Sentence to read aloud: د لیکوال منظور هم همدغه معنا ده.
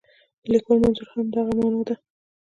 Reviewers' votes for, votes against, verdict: 2, 0, accepted